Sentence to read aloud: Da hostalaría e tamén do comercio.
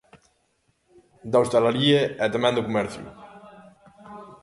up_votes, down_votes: 1, 2